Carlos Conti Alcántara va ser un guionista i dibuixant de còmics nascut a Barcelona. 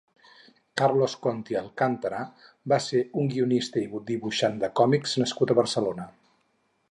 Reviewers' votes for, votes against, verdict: 4, 0, accepted